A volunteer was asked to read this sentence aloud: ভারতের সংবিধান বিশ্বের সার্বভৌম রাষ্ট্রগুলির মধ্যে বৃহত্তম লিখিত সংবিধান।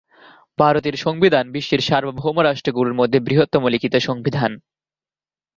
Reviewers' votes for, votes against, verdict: 1, 2, rejected